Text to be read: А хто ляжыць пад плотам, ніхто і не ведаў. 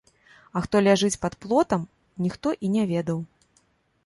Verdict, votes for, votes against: accepted, 2, 0